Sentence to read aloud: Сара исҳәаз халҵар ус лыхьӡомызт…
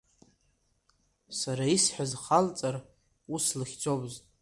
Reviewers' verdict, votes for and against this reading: accepted, 2, 1